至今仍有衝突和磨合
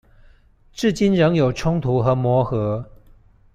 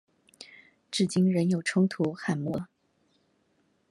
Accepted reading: first